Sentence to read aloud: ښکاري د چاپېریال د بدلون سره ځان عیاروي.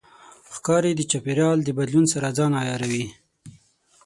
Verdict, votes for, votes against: accepted, 6, 3